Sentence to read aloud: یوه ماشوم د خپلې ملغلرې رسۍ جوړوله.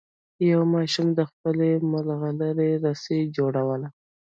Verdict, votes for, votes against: accepted, 2, 0